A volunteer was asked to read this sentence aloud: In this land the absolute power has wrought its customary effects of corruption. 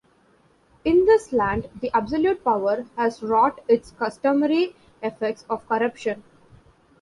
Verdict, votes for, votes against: accepted, 2, 0